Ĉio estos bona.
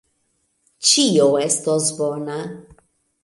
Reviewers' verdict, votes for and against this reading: accepted, 2, 1